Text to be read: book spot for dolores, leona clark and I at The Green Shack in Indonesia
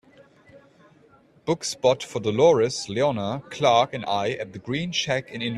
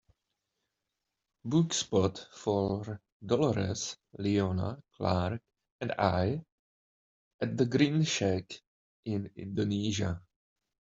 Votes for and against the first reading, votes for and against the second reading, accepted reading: 0, 3, 2, 1, second